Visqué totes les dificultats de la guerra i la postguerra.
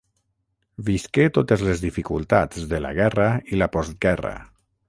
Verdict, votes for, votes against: accepted, 6, 0